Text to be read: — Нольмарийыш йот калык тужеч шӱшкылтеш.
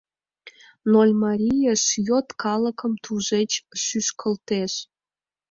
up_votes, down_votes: 2, 4